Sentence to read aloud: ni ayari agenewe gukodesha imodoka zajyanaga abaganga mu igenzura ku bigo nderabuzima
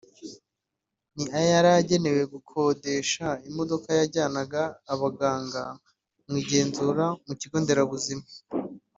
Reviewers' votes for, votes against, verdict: 0, 2, rejected